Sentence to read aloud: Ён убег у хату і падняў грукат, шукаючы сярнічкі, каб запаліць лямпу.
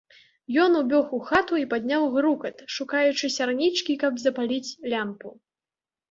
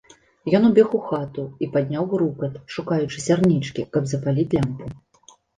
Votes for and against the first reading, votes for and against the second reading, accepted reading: 1, 2, 2, 0, second